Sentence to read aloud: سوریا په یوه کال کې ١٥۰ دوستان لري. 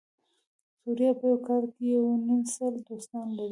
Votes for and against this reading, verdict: 0, 2, rejected